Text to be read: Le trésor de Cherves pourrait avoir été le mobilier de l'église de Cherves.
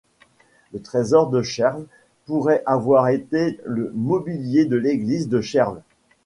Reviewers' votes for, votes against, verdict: 2, 0, accepted